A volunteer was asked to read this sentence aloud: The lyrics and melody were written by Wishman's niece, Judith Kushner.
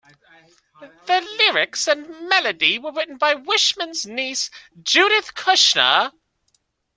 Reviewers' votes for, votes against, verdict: 2, 0, accepted